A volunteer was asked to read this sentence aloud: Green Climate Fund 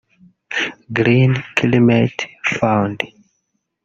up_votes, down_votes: 1, 2